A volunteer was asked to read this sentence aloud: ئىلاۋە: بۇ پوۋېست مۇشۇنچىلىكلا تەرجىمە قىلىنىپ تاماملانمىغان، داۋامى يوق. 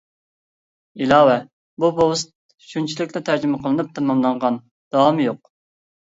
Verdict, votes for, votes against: rejected, 0, 2